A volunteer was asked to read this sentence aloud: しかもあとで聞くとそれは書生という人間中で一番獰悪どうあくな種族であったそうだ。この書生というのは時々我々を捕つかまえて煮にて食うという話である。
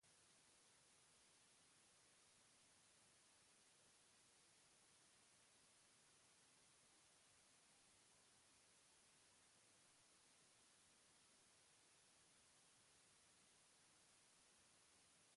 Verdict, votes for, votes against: rejected, 1, 2